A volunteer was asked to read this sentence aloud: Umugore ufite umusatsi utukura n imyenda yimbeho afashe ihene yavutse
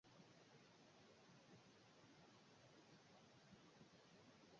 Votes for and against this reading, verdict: 0, 2, rejected